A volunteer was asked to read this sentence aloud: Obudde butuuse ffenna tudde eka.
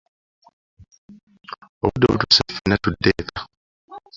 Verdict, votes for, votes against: accepted, 3, 0